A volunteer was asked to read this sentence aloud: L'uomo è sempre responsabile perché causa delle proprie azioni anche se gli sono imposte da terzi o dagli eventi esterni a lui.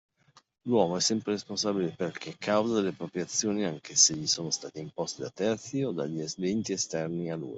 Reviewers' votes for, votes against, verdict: 0, 2, rejected